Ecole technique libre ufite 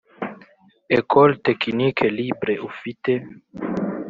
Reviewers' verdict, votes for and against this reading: accepted, 3, 0